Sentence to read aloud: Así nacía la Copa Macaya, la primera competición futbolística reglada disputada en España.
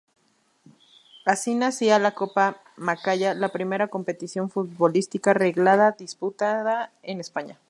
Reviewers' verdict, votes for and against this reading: rejected, 0, 2